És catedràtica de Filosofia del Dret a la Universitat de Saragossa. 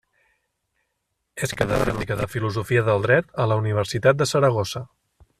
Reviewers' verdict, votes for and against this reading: rejected, 0, 2